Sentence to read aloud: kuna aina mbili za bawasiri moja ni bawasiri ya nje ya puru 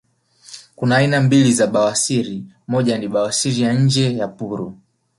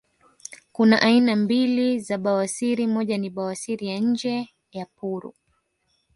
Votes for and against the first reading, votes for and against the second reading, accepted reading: 3, 1, 1, 2, first